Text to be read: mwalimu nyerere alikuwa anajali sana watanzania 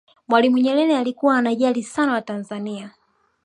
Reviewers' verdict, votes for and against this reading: accepted, 2, 0